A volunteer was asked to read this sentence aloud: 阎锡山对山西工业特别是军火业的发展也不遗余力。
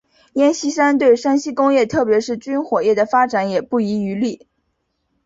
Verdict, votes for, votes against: accepted, 2, 0